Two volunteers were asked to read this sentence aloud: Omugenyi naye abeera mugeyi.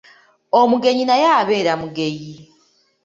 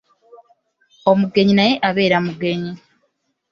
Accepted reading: first